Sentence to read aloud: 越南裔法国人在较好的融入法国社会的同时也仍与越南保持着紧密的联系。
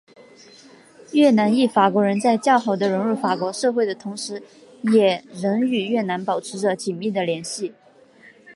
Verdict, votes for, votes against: accepted, 2, 0